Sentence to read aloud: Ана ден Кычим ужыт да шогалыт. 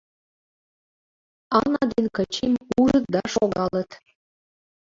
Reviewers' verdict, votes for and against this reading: rejected, 0, 2